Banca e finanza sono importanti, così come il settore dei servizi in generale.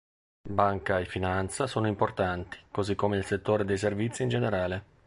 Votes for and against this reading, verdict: 3, 0, accepted